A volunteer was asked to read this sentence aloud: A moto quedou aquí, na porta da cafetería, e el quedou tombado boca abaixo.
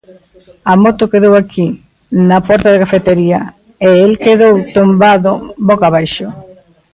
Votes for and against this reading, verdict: 1, 2, rejected